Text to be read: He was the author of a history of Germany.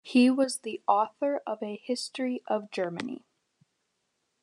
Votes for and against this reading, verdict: 2, 0, accepted